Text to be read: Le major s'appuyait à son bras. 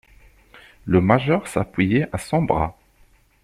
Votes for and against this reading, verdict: 2, 0, accepted